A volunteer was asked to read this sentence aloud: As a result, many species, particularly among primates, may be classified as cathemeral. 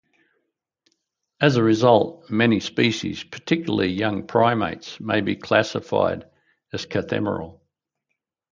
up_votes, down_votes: 2, 2